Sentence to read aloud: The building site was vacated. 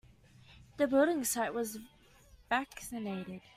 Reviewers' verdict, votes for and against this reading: rejected, 0, 2